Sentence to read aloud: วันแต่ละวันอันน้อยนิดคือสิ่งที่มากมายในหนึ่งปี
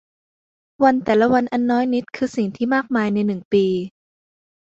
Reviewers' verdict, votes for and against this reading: accepted, 2, 0